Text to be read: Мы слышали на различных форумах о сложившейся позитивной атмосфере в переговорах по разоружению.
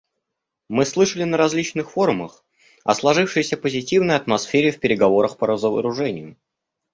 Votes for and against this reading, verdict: 0, 2, rejected